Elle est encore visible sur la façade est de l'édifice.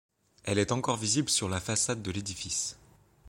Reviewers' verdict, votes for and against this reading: rejected, 1, 2